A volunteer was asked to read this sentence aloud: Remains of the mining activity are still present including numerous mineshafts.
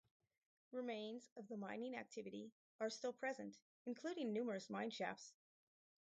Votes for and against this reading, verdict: 2, 0, accepted